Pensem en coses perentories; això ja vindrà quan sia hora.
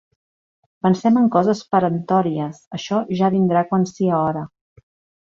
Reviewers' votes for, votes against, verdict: 2, 0, accepted